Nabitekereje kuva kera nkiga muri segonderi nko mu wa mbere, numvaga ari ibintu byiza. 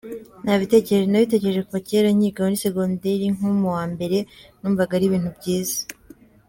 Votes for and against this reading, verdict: 0, 2, rejected